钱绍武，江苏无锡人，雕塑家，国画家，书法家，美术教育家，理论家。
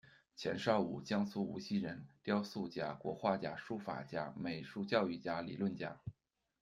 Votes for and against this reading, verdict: 2, 0, accepted